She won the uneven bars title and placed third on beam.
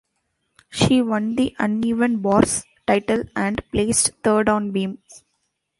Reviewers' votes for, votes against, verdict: 2, 0, accepted